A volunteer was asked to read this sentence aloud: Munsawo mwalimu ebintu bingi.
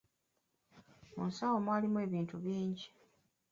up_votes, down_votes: 1, 2